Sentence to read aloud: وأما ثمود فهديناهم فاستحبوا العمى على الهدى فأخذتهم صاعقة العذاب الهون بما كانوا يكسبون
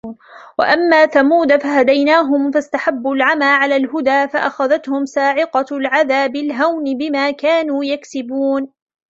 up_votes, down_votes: 0, 2